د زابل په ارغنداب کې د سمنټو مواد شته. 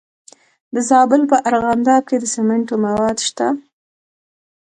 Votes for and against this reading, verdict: 2, 0, accepted